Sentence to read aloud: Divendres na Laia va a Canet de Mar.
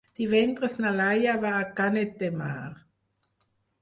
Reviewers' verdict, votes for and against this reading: accepted, 4, 0